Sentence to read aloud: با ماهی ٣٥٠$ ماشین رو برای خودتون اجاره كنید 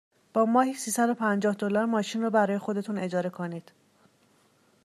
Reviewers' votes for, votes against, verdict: 0, 2, rejected